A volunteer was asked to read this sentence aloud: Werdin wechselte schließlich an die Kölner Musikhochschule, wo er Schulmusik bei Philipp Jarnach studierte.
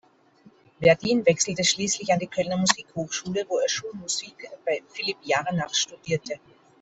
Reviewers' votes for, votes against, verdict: 2, 0, accepted